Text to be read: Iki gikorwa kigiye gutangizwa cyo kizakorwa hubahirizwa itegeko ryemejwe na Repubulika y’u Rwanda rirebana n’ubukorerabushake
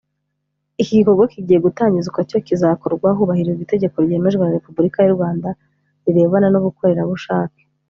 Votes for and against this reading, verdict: 4, 0, accepted